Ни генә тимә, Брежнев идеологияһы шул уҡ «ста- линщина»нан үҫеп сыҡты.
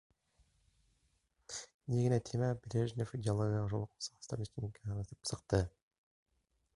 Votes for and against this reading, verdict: 0, 2, rejected